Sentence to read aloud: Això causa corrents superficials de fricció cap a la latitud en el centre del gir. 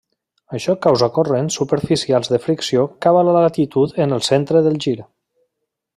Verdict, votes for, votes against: rejected, 0, 3